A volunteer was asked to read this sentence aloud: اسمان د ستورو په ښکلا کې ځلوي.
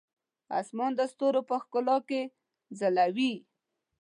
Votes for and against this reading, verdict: 2, 0, accepted